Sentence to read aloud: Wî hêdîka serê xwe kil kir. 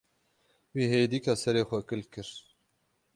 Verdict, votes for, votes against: accepted, 6, 0